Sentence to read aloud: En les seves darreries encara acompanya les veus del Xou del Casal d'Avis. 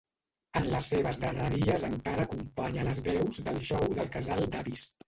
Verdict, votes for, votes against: rejected, 0, 2